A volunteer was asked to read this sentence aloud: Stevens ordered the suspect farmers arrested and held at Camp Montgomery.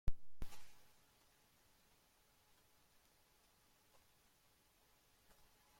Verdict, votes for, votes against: rejected, 0, 2